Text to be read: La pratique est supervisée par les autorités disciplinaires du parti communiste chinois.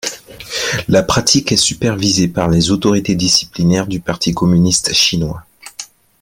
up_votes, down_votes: 2, 0